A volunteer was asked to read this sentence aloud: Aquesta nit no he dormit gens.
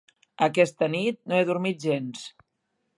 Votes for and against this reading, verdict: 2, 0, accepted